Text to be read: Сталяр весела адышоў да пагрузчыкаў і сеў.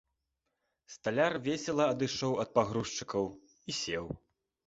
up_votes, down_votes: 1, 2